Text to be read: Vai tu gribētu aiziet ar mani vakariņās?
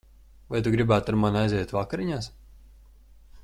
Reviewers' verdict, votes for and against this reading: rejected, 0, 2